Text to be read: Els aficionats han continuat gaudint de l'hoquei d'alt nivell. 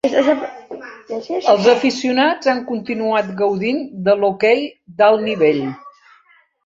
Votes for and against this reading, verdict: 1, 2, rejected